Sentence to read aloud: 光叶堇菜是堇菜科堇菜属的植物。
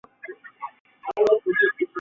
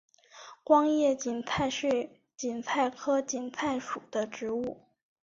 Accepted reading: second